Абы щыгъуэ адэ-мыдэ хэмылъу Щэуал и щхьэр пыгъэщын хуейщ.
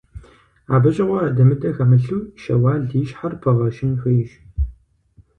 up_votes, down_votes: 4, 0